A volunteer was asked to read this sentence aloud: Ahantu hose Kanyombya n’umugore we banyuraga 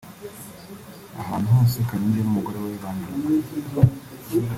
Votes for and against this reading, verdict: 1, 2, rejected